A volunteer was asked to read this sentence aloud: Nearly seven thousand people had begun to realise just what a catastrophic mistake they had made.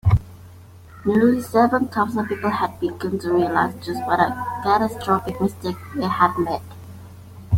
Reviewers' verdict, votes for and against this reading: rejected, 1, 2